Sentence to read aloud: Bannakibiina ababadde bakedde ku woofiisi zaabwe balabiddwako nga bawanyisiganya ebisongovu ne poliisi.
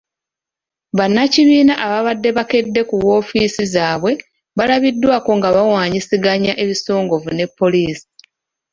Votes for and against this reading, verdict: 2, 0, accepted